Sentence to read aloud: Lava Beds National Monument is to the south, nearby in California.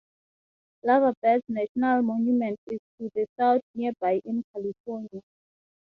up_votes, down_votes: 6, 0